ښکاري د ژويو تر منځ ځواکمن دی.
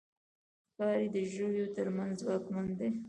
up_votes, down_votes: 2, 1